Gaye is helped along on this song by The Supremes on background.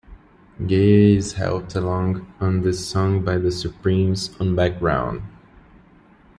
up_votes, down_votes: 2, 0